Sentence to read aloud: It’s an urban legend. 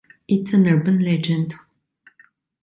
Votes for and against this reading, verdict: 2, 0, accepted